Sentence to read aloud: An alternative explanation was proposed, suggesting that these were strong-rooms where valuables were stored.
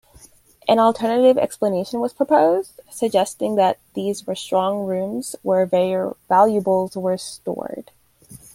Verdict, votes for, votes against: rejected, 0, 2